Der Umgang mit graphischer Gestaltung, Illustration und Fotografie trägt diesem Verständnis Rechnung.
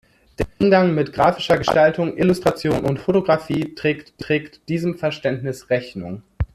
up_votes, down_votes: 0, 2